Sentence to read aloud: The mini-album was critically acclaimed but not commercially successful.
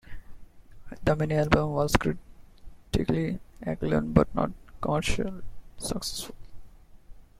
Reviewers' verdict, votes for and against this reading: rejected, 0, 2